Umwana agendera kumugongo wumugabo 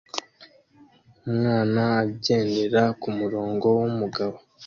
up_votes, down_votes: 0, 2